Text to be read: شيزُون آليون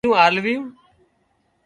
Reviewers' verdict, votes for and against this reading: rejected, 0, 2